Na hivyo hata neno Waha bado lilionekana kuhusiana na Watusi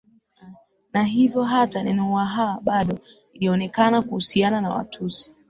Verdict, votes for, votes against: accepted, 16, 0